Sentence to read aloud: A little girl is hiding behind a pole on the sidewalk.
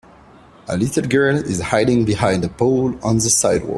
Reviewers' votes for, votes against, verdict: 2, 1, accepted